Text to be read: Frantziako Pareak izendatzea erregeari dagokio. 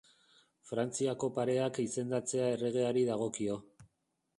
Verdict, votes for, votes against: rejected, 4, 5